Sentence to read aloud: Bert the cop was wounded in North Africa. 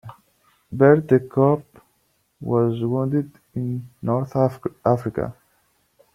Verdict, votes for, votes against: rejected, 1, 2